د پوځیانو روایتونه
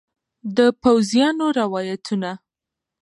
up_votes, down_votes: 0, 2